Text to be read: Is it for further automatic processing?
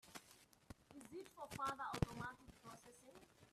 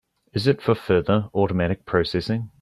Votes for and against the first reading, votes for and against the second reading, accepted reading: 0, 2, 4, 0, second